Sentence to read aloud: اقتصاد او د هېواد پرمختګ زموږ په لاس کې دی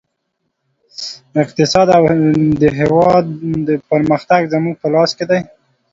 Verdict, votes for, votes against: accepted, 2, 0